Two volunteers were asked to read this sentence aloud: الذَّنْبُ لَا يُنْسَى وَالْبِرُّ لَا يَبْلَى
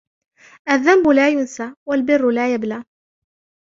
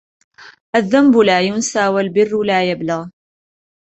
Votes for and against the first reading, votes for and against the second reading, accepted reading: 1, 2, 2, 1, second